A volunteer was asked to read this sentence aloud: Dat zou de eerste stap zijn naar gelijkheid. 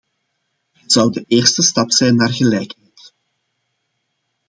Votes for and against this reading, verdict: 1, 2, rejected